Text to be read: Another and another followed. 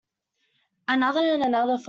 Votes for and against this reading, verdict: 1, 2, rejected